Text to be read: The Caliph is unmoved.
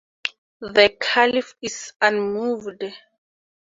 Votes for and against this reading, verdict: 2, 0, accepted